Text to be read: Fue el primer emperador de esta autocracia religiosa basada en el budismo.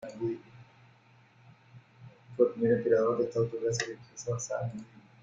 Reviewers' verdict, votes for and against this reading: rejected, 0, 2